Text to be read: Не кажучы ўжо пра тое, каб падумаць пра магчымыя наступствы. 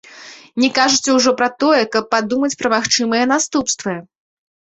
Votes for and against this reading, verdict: 2, 0, accepted